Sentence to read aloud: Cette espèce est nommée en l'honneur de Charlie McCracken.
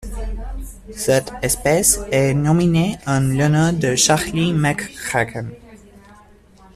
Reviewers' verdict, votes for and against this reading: rejected, 1, 2